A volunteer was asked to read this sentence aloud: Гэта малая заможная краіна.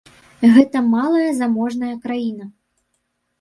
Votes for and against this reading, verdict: 0, 2, rejected